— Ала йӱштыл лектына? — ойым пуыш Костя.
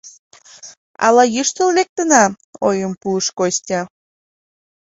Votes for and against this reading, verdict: 3, 0, accepted